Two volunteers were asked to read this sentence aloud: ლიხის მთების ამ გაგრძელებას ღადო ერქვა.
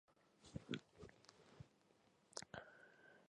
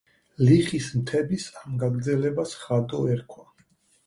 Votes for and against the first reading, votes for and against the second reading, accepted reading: 1, 2, 4, 2, second